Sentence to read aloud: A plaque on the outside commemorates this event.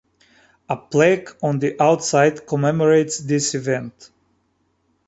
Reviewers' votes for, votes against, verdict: 2, 0, accepted